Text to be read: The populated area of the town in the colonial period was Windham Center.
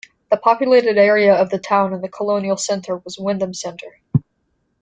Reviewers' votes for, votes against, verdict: 1, 2, rejected